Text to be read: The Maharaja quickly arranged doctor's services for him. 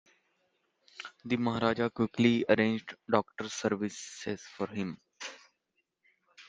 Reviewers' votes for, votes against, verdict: 2, 0, accepted